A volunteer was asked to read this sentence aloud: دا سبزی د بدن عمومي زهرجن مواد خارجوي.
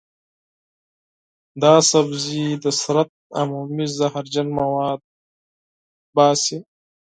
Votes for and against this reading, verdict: 0, 4, rejected